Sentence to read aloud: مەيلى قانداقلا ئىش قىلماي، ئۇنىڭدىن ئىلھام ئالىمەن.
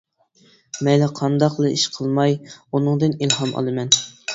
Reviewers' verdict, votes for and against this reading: accepted, 2, 0